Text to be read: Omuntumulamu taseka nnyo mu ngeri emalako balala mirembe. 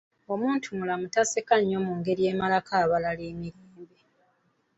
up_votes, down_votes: 2, 3